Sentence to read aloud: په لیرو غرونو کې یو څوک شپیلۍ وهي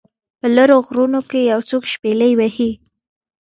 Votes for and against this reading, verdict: 2, 0, accepted